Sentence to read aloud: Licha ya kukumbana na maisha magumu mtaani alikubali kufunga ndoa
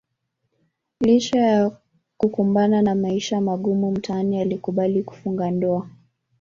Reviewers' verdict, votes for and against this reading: rejected, 1, 2